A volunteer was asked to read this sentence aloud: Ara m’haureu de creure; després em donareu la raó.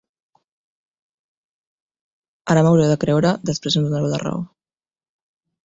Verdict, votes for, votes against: rejected, 0, 2